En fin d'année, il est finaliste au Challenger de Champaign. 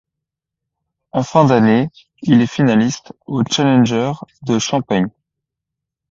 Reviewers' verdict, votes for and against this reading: accepted, 2, 0